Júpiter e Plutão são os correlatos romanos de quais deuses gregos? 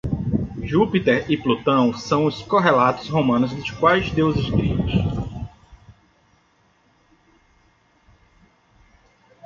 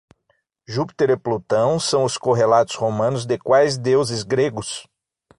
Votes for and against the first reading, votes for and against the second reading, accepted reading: 1, 2, 6, 0, second